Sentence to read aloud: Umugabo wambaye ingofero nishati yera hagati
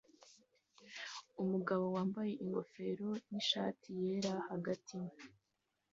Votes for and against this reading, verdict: 2, 0, accepted